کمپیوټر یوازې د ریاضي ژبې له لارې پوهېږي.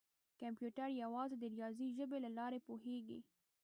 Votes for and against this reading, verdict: 1, 2, rejected